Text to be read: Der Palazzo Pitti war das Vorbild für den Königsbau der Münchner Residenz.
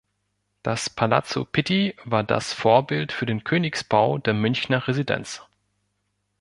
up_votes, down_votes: 1, 2